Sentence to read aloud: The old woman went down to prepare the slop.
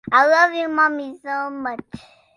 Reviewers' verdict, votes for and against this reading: rejected, 0, 2